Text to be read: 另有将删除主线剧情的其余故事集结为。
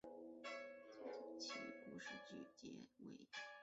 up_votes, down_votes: 1, 2